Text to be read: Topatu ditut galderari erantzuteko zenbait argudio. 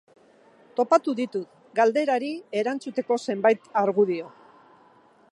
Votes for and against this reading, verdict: 2, 0, accepted